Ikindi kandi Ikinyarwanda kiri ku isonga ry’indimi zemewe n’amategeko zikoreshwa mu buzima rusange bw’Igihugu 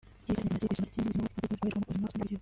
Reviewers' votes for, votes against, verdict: 0, 2, rejected